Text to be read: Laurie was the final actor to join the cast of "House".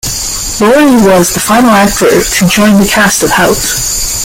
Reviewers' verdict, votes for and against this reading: accepted, 2, 1